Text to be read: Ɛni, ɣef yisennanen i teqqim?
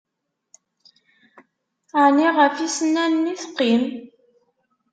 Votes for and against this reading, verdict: 2, 0, accepted